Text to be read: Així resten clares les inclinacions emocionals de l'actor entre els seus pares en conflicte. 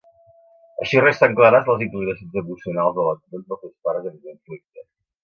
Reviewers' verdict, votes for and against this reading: rejected, 1, 2